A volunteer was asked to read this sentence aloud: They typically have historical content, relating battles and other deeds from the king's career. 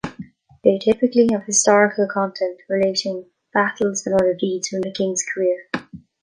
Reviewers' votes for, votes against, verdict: 2, 1, accepted